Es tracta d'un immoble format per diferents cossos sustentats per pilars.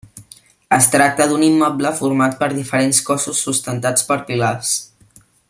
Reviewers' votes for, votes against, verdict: 2, 0, accepted